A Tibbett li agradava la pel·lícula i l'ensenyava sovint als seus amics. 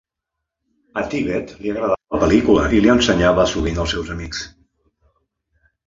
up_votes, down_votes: 1, 2